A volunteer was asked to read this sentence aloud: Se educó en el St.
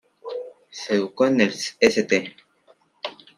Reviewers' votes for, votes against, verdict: 0, 2, rejected